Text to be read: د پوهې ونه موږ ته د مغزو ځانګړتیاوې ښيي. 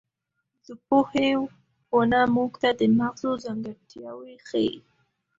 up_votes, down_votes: 2, 0